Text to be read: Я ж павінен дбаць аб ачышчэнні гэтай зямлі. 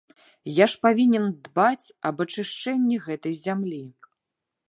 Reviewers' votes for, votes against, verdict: 0, 2, rejected